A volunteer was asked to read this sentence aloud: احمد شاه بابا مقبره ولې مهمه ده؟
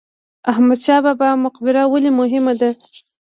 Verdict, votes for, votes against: rejected, 0, 2